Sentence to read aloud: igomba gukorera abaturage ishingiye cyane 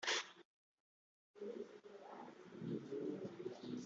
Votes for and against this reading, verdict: 0, 2, rejected